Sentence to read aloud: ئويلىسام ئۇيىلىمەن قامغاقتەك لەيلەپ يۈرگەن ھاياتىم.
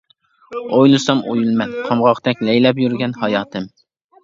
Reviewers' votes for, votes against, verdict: 1, 2, rejected